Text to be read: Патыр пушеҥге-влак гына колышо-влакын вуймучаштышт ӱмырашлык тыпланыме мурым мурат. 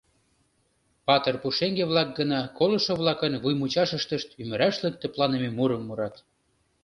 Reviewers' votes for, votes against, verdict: 0, 2, rejected